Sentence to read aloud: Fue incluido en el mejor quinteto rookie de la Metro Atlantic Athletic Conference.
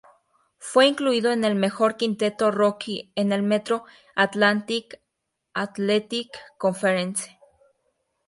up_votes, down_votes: 0, 2